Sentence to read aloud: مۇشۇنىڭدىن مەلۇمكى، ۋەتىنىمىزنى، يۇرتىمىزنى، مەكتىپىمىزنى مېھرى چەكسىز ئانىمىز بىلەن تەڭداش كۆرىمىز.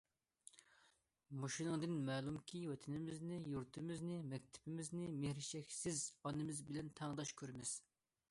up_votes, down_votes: 2, 0